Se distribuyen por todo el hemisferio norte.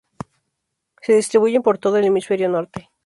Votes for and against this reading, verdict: 6, 0, accepted